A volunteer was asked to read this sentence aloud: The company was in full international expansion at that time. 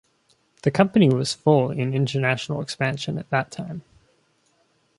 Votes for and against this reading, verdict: 0, 2, rejected